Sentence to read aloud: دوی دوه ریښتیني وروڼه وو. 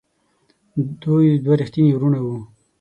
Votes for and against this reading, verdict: 6, 0, accepted